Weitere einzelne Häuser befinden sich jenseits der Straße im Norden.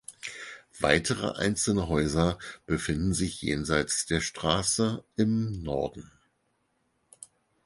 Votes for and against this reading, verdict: 4, 0, accepted